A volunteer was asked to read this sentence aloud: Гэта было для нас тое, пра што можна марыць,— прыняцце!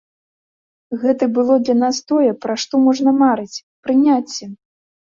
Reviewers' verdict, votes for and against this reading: accepted, 2, 0